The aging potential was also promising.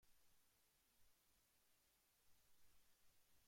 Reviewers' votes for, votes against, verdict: 0, 2, rejected